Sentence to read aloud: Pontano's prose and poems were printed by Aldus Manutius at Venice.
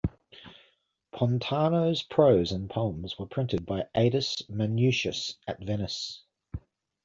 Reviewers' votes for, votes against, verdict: 0, 2, rejected